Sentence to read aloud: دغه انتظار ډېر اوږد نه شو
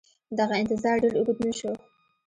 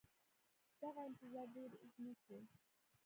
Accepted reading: second